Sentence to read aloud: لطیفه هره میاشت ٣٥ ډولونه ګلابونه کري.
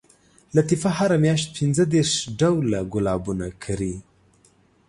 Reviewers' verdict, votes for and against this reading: rejected, 0, 2